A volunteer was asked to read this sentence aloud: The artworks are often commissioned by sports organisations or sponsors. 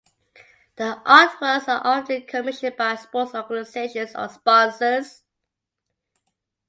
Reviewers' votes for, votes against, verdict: 2, 0, accepted